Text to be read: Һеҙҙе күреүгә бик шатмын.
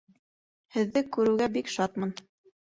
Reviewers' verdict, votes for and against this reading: accepted, 2, 0